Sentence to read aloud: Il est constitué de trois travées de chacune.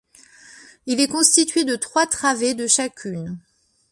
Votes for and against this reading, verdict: 2, 1, accepted